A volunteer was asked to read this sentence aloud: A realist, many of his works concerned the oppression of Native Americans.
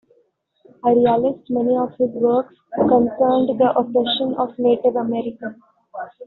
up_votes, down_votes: 2, 1